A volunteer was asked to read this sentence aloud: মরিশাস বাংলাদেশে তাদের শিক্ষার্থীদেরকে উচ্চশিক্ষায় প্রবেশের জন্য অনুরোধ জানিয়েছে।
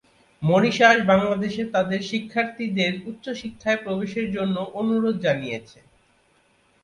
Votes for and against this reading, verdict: 0, 2, rejected